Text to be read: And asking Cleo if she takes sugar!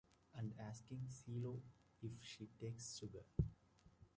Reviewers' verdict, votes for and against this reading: rejected, 1, 2